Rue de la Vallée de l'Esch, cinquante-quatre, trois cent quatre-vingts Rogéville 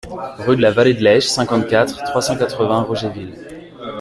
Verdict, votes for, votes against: rejected, 0, 2